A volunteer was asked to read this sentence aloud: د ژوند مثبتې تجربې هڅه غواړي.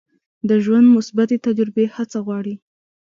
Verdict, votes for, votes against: rejected, 1, 2